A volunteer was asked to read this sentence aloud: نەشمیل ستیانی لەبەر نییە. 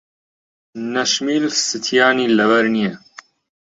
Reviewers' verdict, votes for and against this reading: accepted, 2, 0